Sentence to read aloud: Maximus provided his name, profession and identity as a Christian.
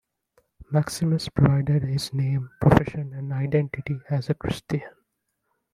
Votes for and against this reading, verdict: 2, 0, accepted